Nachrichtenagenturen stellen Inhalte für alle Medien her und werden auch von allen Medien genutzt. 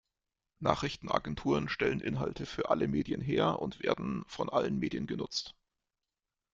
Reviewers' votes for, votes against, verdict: 0, 2, rejected